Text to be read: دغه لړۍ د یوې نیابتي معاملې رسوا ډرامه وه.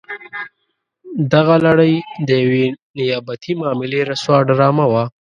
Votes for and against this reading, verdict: 0, 2, rejected